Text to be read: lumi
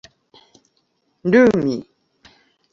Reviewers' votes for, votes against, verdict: 0, 2, rejected